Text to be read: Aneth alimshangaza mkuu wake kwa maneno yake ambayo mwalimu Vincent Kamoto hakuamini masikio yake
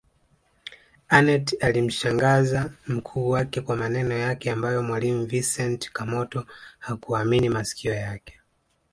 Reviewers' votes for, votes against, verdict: 2, 0, accepted